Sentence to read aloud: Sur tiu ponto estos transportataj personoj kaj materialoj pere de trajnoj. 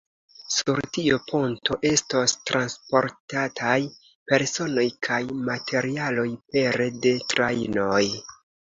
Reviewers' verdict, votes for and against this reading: accepted, 2, 0